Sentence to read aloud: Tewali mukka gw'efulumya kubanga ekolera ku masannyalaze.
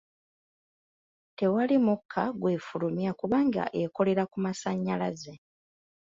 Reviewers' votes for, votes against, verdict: 2, 0, accepted